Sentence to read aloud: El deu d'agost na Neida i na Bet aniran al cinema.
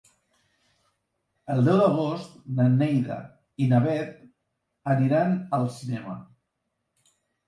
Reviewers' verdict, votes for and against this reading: accepted, 2, 0